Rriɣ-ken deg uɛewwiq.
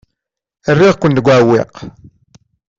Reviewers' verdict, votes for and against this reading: accepted, 2, 0